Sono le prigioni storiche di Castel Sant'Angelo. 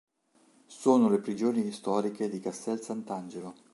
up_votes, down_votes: 3, 0